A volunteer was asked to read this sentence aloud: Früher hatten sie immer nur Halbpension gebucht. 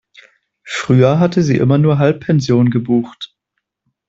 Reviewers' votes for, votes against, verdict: 0, 2, rejected